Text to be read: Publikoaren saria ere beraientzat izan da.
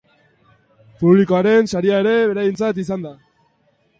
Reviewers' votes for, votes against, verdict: 4, 1, accepted